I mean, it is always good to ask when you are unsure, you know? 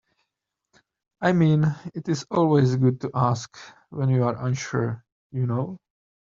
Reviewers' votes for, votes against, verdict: 2, 0, accepted